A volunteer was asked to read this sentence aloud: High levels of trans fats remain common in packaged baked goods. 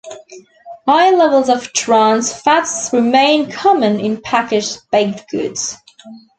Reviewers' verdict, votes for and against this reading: accepted, 3, 0